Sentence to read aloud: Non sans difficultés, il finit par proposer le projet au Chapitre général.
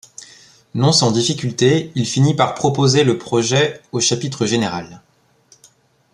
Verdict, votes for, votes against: accepted, 2, 0